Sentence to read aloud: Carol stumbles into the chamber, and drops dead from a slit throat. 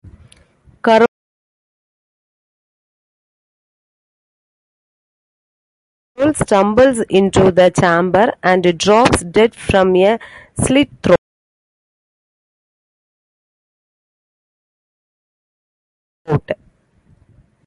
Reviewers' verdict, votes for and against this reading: rejected, 0, 2